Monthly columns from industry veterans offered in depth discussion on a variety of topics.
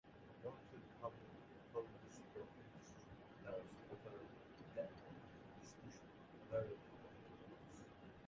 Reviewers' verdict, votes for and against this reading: rejected, 0, 2